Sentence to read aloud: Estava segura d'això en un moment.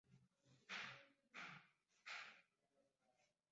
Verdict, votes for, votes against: rejected, 0, 2